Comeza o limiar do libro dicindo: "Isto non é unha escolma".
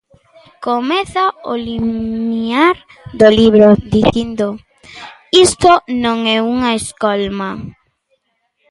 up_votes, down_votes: 0, 2